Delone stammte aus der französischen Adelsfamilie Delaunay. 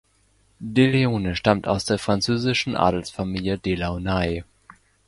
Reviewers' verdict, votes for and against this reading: rejected, 0, 2